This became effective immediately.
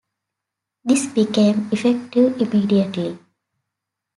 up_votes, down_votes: 2, 0